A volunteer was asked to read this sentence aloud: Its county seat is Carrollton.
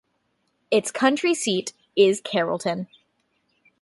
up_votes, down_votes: 1, 2